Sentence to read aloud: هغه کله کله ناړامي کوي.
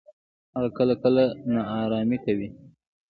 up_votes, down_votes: 1, 2